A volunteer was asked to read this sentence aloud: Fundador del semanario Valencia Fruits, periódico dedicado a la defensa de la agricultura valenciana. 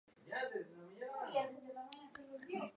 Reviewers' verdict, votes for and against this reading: rejected, 0, 4